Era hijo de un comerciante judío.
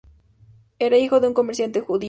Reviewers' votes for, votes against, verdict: 0, 2, rejected